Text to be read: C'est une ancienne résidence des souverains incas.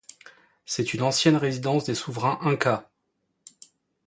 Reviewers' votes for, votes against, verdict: 2, 0, accepted